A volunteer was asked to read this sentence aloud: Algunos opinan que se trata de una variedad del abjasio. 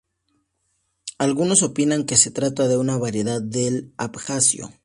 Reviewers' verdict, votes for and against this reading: accepted, 2, 0